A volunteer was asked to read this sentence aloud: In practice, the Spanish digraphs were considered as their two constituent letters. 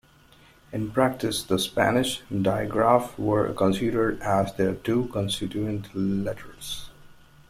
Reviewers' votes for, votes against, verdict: 0, 2, rejected